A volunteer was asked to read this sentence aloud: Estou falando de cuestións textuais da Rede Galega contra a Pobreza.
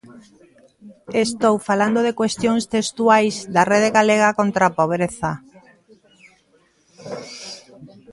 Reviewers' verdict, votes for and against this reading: accepted, 2, 1